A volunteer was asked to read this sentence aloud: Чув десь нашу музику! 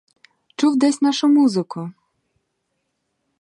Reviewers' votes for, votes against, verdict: 0, 2, rejected